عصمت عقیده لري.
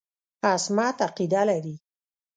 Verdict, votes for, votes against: rejected, 0, 2